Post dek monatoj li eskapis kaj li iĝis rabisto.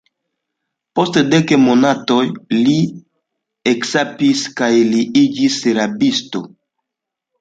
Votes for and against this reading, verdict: 2, 0, accepted